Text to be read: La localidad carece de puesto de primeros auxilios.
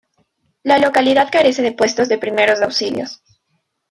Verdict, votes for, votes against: accepted, 2, 0